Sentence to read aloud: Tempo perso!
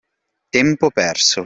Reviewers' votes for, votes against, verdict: 2, 0, accepted